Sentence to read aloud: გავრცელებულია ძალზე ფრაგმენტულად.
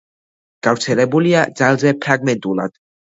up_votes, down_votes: 2, 0